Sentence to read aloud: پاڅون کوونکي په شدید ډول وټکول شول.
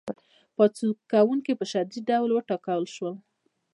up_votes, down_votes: 0, 2